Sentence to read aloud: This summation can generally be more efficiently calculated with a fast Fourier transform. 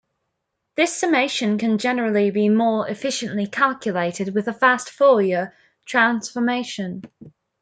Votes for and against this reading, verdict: 0, 2, rejected